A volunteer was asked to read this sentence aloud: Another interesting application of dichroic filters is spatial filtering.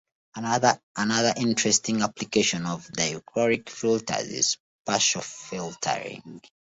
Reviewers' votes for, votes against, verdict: 0, 2, rejected